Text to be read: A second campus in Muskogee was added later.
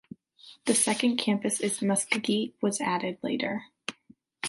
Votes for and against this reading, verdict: 0, 2, rejected